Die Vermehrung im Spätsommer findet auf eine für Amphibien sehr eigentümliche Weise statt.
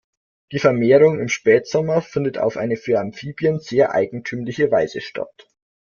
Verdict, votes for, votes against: accepted, 2, 0